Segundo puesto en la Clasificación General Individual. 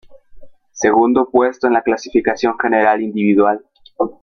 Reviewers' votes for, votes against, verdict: 0, 2, rejected